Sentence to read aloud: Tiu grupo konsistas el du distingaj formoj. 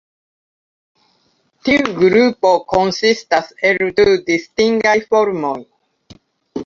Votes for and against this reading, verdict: 1, 2, rejected